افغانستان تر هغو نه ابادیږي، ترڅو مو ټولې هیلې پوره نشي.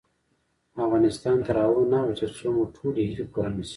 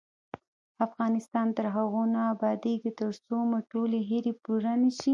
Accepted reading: first